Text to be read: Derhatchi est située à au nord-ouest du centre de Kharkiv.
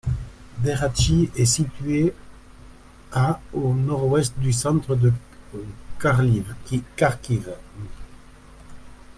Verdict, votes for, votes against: rejected, 0, 2